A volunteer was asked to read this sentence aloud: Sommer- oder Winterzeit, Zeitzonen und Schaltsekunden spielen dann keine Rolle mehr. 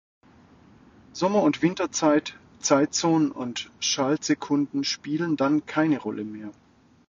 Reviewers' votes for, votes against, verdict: 1, 2, rejected